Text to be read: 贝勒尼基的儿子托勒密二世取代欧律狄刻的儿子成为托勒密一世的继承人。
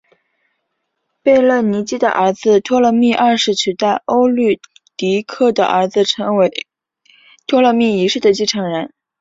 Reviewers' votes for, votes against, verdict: 4, 0, accepted